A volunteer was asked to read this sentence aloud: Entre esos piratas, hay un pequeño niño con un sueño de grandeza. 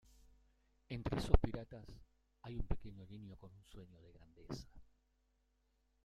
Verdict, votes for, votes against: rejected, 1, 2